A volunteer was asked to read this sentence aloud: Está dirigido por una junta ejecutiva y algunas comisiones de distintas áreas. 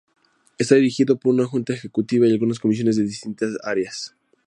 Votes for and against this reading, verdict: 2, 0, accepted